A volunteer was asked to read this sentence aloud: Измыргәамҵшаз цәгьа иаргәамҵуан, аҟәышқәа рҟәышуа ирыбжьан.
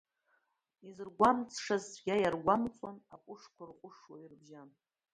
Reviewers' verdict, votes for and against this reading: rejected, 1, 2